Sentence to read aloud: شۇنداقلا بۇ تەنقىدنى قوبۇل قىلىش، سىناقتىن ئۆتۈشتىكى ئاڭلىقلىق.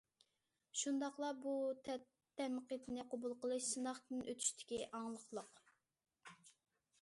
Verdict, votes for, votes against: rejected, 1, 2